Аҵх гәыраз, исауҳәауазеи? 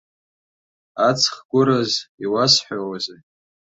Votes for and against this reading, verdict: 1, 2, rejected